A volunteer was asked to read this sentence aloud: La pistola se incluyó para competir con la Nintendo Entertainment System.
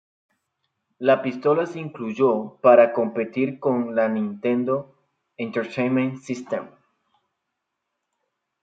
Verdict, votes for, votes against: accepted, 2, 0